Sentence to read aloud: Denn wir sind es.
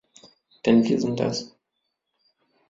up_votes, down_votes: 1, 2